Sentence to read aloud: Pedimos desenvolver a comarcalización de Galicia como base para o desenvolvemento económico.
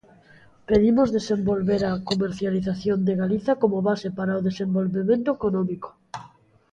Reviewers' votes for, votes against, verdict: 0, 2, rejected